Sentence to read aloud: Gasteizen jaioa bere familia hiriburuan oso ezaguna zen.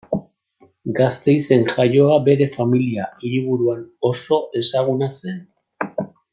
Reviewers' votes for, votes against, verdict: 2, 0, accepted